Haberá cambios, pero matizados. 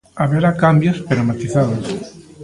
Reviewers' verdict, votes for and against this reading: accepted, 2, 0